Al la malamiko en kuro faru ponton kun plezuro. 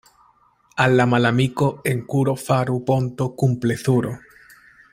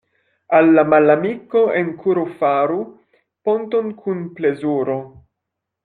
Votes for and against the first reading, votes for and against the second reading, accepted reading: 1, 2, 2, 0, second